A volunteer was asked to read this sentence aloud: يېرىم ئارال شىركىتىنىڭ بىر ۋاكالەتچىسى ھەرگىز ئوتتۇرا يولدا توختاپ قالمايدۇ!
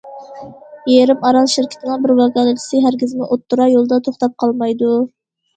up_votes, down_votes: 0, 2